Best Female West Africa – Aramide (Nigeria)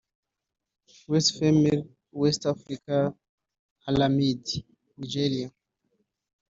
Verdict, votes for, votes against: rejected, 0, 2